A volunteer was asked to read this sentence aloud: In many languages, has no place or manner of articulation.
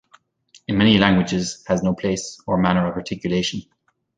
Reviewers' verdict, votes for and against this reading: rejected, 1, 2